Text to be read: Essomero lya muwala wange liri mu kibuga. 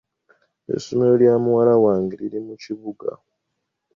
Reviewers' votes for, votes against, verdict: 2, 0, accepted